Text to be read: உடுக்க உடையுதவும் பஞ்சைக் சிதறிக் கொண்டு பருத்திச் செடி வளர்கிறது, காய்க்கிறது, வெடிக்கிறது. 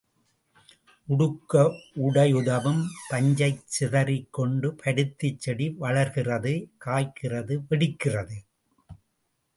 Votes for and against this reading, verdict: 3, 1, accepted